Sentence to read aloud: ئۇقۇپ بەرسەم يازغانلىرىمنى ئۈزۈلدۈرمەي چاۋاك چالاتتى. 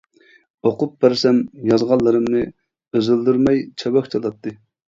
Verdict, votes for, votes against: rejected, 0, 2